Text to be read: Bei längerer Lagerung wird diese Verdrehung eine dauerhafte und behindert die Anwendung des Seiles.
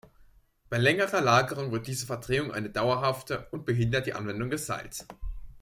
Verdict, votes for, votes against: accepted, 2, 0